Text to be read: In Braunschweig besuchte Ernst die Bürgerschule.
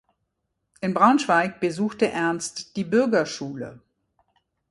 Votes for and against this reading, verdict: 2, 0, accepted